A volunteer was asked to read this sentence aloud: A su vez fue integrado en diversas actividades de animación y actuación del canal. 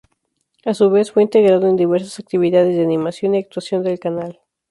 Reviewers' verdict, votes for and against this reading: accepted, 6, 0